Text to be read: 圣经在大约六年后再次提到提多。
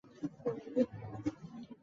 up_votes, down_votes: 1, 4